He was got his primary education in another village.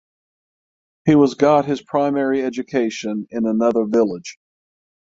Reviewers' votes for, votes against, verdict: 3, 6, rejected